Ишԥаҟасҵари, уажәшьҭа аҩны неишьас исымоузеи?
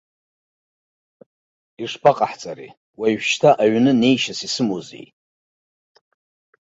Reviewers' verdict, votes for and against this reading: rejected, 1, 2